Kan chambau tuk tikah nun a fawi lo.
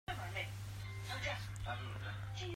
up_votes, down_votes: 0, 2